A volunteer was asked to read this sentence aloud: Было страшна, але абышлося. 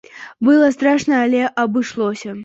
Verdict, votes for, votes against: accepted, 2, 1